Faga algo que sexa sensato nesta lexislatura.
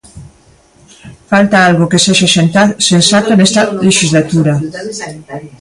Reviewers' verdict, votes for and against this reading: rejected, 1, 2